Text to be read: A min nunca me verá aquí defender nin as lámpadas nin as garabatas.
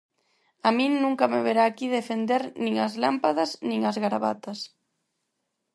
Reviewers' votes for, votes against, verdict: 4, 0, accepted